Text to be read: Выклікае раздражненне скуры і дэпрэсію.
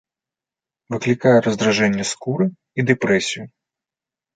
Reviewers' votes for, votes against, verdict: 1, 2, rejected